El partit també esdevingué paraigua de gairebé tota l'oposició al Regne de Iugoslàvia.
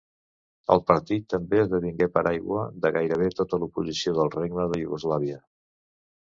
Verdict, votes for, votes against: rejected, 1, 2